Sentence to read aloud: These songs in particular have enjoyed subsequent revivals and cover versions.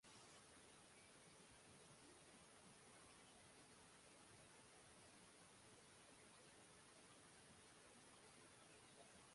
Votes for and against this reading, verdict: 0, 2, rejected